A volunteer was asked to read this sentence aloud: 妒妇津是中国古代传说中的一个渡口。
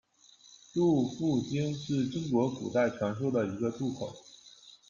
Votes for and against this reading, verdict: 1, 2, rejected